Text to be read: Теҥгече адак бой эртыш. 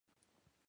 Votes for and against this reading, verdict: 0, 2, rejected